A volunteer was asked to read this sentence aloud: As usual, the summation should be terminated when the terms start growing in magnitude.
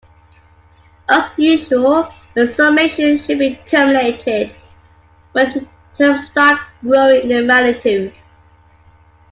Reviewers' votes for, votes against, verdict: 3, 1, accepted